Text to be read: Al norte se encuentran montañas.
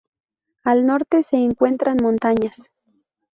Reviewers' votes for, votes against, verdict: 4, 0, accepted